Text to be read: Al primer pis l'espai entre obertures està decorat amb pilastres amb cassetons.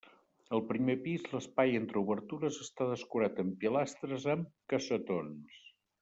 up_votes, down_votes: 1, 2